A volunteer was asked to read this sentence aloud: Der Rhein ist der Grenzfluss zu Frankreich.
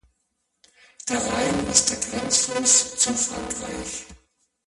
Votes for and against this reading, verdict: 1, 2, rejected